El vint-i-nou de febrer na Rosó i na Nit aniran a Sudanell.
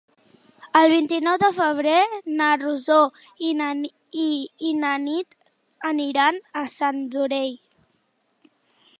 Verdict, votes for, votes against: rejected, 0, 2